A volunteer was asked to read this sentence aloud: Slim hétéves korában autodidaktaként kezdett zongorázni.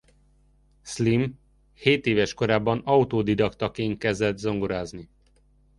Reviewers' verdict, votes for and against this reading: accepted, 2, 0